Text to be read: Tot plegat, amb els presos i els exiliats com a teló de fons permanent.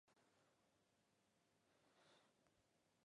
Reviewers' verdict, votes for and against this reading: rejected, 0, 2